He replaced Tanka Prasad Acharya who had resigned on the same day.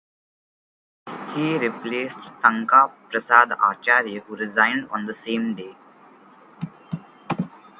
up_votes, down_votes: 4, 2